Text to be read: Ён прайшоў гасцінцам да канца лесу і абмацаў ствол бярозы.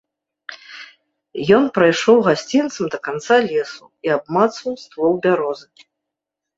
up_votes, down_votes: 1, 2